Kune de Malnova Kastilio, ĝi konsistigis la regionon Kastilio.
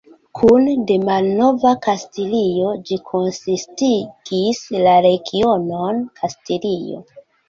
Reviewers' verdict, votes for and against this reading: accepted, 2, 0